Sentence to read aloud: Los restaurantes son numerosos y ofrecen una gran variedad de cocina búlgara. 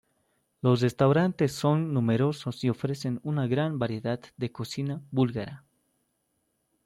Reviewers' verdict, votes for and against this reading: accepted, 2, 1